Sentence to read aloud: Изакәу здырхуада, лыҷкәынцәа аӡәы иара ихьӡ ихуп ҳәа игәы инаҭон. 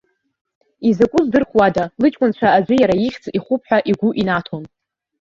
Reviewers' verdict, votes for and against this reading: rejected, 0, 2